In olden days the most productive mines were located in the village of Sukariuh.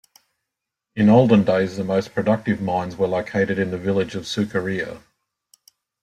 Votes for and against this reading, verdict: 2, 0, accepted